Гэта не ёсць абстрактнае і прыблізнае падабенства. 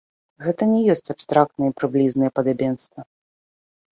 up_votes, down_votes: 2, 0